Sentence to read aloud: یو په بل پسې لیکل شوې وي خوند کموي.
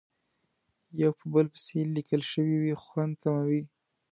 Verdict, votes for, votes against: accepted, 2, 0